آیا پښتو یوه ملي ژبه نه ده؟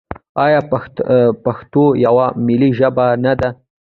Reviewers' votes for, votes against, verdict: 0, 2, rejected